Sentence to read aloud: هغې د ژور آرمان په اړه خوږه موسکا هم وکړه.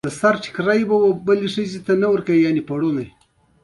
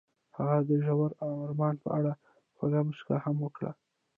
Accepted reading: first